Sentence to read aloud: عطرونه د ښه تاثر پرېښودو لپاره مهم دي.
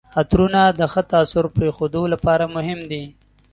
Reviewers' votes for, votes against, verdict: 2, 0, accepted